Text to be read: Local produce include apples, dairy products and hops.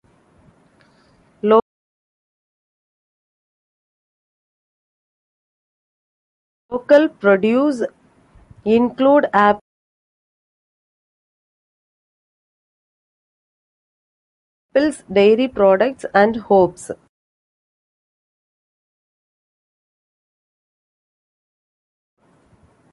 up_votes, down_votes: 0, 2